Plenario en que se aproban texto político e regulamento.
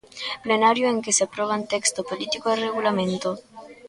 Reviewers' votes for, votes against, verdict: 1, 2, rejected